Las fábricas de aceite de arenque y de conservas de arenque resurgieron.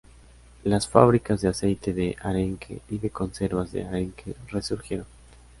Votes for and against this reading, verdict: 2, 0, accepted